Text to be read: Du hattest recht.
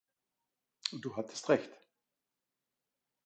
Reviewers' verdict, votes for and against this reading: accepted, 2, 0